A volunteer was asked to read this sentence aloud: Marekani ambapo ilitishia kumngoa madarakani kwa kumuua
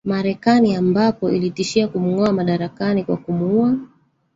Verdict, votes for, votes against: rejected, 1, 2